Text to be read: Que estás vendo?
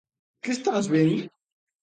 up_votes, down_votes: 0, 2